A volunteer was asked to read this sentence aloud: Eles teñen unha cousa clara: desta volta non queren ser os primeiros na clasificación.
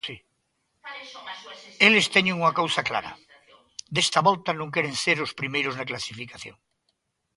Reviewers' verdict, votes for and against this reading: rejected, 1, 2